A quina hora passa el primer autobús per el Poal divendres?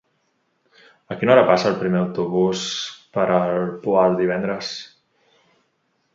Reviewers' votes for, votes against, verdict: 2, 0, accepted